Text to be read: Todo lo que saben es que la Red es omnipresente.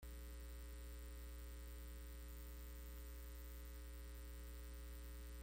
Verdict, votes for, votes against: rejected, 0, 2